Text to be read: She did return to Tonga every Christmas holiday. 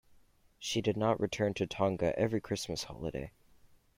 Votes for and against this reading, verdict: 1, 2, rejected